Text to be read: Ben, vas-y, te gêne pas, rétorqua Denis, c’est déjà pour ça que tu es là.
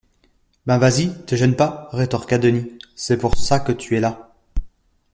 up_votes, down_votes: 0, 2